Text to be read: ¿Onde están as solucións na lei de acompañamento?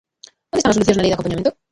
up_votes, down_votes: 0, 2